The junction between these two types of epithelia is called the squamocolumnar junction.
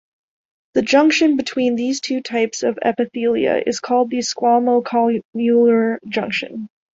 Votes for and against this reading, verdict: 1, 2, rejected